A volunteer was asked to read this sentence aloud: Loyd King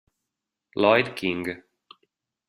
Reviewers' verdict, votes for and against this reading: accepted, 2, 0